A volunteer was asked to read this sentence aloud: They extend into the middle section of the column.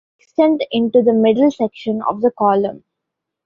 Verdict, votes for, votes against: rejected, 0, 2